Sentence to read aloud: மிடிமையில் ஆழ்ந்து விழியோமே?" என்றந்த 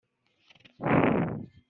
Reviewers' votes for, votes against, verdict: 0, 2, rejected